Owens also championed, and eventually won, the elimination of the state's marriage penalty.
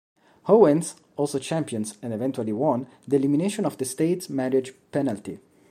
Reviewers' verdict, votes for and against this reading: rejected, 0, 2